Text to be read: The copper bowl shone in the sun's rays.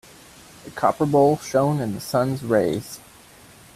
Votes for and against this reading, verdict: 2, 0, accepted